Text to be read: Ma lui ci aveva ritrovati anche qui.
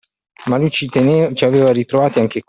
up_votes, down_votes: 0, 2